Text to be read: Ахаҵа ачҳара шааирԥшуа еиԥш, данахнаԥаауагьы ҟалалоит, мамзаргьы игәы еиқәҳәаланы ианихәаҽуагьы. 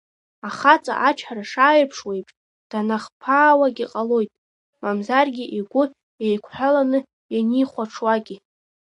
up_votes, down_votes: 1, 2